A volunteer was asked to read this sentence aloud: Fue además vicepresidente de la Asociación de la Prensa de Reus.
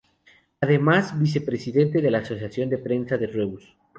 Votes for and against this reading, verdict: 0, 2, rejected